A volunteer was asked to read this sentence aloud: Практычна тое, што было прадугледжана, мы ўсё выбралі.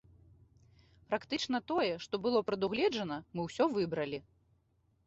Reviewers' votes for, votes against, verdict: 2, 0, accepted